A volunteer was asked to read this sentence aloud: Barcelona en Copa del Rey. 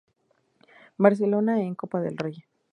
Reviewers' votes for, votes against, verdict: 2, 0, accepted